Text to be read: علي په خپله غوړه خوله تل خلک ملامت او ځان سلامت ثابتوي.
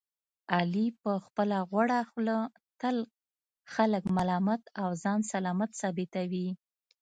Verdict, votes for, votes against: accepted, 2, 0